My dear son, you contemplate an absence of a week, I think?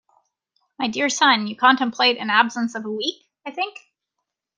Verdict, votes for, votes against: accepted, 2, 0